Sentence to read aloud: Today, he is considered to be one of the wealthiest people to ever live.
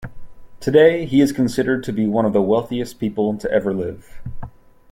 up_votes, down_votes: 2, 0